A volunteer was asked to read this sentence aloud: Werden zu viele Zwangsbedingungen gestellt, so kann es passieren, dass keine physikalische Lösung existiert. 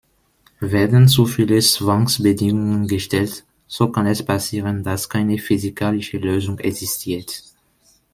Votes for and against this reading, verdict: 2, 0, accepted